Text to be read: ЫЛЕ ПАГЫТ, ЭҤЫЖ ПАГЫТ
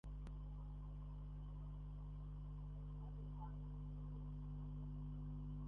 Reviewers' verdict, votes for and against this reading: rejected, 0, 2